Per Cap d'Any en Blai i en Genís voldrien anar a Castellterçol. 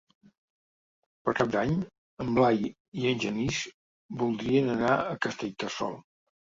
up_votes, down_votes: 3, 0